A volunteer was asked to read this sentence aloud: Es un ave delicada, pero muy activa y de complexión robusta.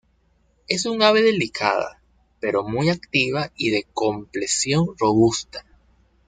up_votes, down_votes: 0, 2